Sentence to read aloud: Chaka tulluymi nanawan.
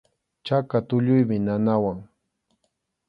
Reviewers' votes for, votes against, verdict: 2, 0, accepted